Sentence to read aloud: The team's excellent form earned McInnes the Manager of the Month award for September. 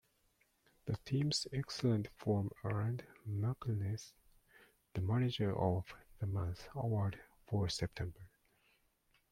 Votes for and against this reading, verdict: 1, 2, rejected